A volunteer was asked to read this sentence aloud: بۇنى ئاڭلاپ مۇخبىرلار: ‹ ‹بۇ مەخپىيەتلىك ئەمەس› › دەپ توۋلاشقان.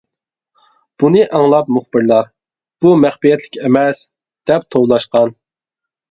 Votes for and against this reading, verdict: 2, 0, accepted